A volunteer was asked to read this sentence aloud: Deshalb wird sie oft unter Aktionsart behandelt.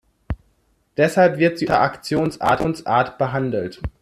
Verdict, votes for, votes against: rejected, 0, 2